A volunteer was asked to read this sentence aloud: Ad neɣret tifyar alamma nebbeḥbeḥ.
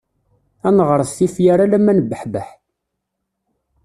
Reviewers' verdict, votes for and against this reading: accepted, 2, 0